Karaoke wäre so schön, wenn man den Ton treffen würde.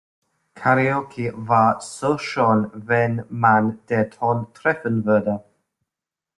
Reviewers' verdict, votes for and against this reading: rejected, 0, 2